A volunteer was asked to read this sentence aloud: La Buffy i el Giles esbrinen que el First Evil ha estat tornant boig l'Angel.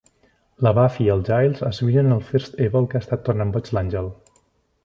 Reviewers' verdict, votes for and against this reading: rejected, 0, 2